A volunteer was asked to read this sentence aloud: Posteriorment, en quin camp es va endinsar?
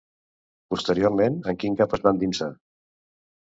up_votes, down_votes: 0, 2